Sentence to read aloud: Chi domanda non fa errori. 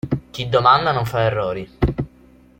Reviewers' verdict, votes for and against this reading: accepted, 2, 0